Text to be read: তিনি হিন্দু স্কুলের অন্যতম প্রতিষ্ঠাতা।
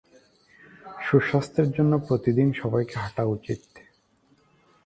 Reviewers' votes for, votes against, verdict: 1, 6, rejected